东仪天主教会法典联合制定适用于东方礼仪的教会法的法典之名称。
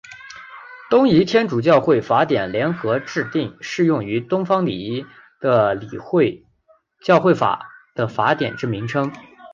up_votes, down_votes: 1, 2